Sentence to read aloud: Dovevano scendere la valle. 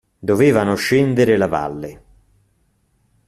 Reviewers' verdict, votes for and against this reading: accepted, 2, 0